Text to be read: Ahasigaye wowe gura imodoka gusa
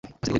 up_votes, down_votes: 2, 1